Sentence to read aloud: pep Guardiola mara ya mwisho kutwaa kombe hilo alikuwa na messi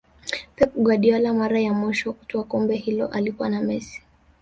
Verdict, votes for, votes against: accepted, 2, 0